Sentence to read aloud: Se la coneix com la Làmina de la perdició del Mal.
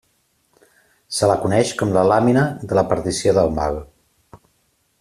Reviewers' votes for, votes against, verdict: 2, 0, accepted